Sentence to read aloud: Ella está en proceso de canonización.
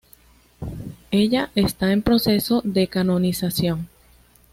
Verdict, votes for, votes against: accepted, 2, 0